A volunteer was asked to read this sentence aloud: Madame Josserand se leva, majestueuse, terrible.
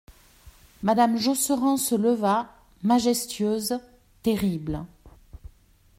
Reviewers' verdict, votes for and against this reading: accepted, 2, 0